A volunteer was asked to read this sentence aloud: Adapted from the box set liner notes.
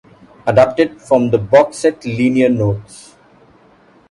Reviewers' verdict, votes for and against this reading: rejected, 1, 2